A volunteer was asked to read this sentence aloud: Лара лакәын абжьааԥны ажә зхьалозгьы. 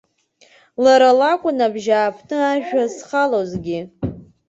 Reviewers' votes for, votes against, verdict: 0, 2, rejected